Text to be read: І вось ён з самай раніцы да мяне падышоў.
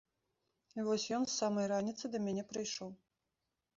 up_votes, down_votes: 1, 2